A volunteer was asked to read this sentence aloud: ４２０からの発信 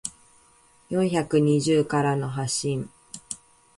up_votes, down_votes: 0, 2